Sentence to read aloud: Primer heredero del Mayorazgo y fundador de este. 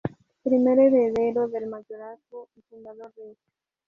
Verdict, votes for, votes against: accepted, 2, 0